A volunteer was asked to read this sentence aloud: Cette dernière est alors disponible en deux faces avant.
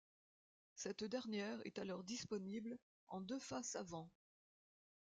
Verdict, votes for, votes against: accepted, 2, 0